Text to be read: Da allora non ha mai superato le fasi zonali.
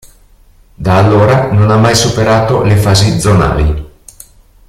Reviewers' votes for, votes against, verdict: 2, 1, accepted